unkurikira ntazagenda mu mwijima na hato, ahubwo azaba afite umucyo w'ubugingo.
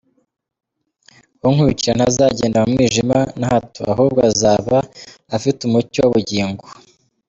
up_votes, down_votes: 1, 2